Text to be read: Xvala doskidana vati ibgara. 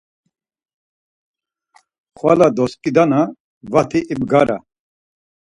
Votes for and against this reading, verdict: 4, 0, accepted